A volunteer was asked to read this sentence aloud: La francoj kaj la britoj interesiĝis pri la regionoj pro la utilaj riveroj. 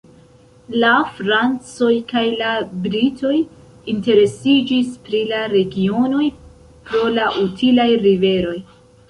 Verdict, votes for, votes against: rejected, 0, 2